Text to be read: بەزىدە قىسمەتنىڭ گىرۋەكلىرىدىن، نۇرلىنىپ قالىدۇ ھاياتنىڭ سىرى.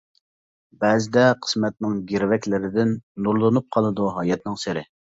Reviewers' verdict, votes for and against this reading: accepted, 2, 0